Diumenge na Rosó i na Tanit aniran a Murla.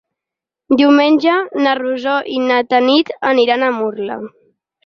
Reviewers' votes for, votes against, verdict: 6, 0, accepted